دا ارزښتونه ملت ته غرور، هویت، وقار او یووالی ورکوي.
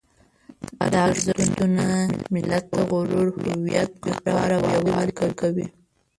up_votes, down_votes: 0, 2